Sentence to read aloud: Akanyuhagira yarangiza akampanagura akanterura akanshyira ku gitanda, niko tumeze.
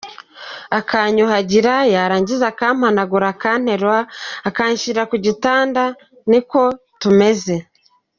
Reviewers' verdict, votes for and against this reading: accepted, 3, 0